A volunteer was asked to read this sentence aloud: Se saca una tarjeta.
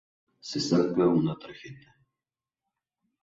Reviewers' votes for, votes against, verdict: 2, 0, accepted